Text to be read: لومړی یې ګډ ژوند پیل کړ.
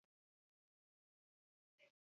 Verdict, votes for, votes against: rejected, 0, 3